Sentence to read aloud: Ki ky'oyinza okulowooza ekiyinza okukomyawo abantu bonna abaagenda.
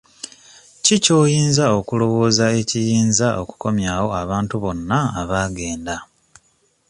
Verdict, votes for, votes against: accepted, 2, 0